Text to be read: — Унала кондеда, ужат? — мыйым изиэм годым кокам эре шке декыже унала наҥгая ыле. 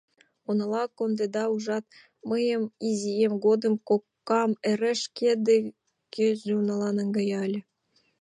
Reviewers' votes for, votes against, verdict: 1, 2, rejected